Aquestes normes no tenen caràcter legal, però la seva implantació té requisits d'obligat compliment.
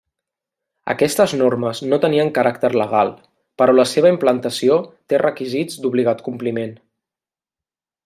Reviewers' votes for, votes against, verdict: 0, 2, rejected